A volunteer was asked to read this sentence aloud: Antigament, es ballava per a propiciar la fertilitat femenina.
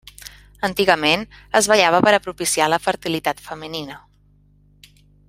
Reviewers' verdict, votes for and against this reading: accepted, 3, 0